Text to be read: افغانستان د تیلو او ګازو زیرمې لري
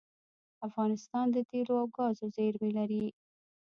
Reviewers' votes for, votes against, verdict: 1, 2, rejected